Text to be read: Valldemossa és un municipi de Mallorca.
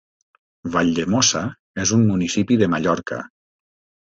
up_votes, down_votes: 3, 0